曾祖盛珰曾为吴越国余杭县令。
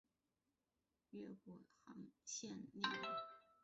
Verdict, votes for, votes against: rejected, 1, 3